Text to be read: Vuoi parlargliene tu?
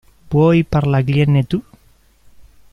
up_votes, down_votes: 0, 2